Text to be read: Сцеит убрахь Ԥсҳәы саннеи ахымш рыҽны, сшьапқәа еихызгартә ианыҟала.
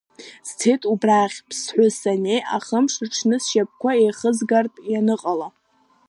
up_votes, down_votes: 3, 0